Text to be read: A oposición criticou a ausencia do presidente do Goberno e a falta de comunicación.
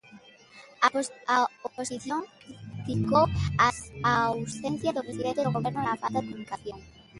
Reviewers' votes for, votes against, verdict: 0, 2, rejected